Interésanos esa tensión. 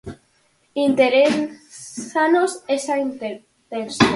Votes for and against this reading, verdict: 0, 4, rejected